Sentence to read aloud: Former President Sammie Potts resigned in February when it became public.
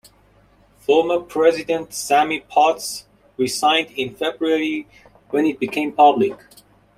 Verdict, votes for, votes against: accepted, 2, 0